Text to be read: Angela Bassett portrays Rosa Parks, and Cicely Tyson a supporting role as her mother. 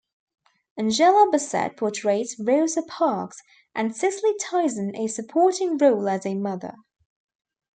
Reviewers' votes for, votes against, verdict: 0, 2, rejected